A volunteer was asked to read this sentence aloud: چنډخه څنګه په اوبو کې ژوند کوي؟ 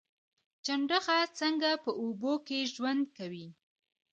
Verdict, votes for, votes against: rejected, 0, 2